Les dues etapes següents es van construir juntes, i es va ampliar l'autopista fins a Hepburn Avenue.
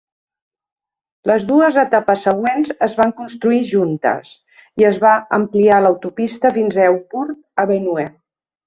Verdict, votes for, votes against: accepted, 3, 2